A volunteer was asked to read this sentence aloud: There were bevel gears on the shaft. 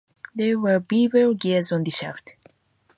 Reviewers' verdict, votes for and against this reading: accepted, 2, 0